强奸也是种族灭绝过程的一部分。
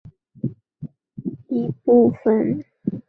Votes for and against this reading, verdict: 0, 2, rejected